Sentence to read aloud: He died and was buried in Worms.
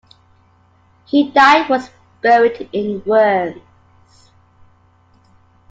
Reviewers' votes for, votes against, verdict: 2, 1, accepted